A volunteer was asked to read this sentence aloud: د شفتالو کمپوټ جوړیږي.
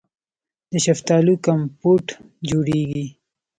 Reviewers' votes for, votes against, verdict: 2, 0, accepted